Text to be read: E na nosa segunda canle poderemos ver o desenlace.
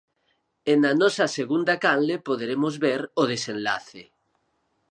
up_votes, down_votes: 4, 0